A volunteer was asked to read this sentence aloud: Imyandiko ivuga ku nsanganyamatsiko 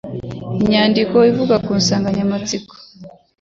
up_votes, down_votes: 2, 0